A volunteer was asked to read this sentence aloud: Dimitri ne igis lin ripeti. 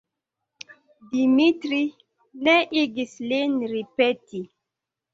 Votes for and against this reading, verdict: 2, 0, accepted